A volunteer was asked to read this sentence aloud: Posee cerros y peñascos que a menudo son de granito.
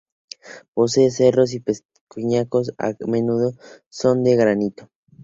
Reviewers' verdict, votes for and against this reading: accepted, 2, 0